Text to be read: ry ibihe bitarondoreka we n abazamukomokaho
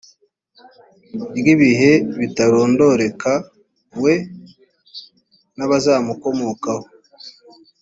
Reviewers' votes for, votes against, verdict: 2, 0, accepted